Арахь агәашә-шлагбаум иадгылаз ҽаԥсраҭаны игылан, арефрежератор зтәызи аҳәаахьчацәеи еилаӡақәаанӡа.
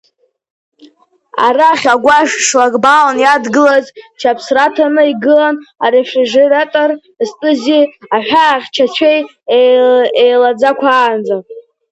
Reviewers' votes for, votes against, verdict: 1, 2, rejected